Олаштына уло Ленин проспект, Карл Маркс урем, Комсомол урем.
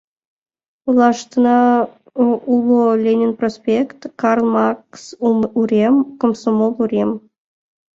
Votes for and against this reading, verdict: 1, 2, rejected